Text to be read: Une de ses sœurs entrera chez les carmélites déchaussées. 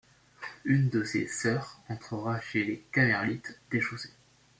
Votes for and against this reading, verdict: 1, 2, rejected